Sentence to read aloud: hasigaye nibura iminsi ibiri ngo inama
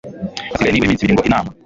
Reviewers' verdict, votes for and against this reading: rejected, 1, 2